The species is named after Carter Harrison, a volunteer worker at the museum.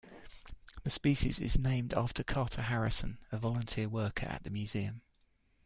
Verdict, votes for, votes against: accepted, 2, 0